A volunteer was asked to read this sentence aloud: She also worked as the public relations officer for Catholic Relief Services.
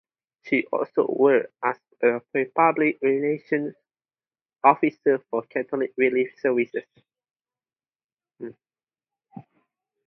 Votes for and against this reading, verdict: 2, 2, rejected